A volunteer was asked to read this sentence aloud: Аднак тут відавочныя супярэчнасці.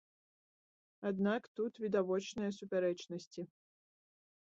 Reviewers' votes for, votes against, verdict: 0, 2, rejected